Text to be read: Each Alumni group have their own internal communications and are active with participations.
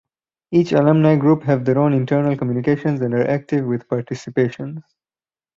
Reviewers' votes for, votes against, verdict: 6, 0, accepted